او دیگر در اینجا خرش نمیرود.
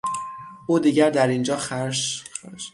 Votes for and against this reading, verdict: 0, 6, rejected